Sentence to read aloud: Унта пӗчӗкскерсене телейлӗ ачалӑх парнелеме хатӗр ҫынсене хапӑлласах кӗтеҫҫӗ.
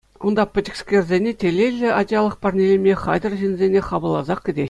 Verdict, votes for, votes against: accepted, 2, 1